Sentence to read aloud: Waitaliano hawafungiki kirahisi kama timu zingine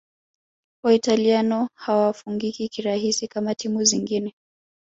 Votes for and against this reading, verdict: 1, 2, rejected